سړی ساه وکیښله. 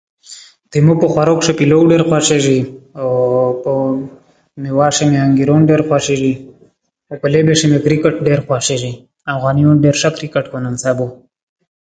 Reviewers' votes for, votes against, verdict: 0, 2, rejected